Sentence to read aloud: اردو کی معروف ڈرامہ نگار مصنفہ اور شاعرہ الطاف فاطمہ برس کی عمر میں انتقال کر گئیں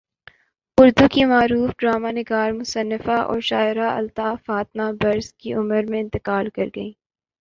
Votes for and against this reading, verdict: 9, 2, accepted